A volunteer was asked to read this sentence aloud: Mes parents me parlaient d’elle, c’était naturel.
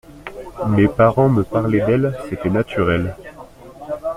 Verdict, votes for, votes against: accepted, 2, 0